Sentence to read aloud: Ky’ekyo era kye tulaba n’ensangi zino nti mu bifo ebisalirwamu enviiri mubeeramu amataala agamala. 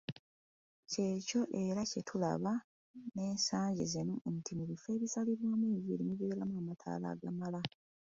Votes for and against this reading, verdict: 2, 0, accepted